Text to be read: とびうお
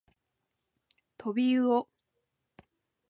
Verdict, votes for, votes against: rejected, 1, 2